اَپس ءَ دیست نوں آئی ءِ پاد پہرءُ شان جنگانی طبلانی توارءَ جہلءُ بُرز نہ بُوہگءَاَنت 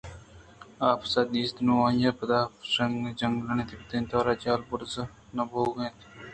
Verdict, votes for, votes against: accepted, 2, 0